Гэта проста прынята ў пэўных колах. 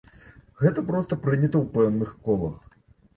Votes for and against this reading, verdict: 1, 2, rejected